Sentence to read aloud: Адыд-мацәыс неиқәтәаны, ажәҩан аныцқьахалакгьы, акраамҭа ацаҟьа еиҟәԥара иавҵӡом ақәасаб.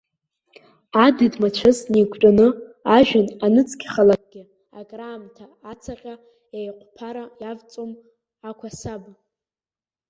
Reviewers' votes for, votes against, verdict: 1, 2, rejected